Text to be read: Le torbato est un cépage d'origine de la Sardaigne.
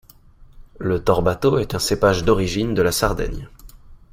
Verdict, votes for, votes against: accepted, 2, 0